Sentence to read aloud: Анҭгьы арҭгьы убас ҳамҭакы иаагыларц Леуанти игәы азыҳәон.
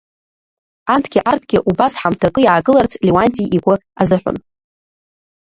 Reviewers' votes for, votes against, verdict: 0, 2, rejected